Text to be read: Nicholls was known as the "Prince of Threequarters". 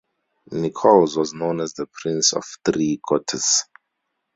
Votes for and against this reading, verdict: 2, 0, accepted